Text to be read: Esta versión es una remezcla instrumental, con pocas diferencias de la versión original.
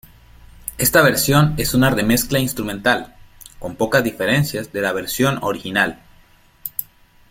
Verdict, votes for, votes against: accepted, 2, 1